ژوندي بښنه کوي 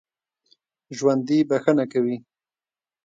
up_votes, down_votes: 1, 2